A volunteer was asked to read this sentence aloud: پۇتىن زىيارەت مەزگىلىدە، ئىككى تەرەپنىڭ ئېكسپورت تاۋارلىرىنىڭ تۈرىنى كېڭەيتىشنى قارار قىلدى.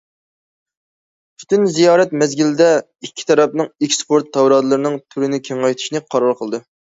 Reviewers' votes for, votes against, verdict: 1, 2, rejected